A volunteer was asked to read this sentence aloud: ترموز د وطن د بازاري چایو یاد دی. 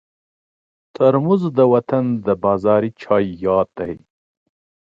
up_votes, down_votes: 2, 1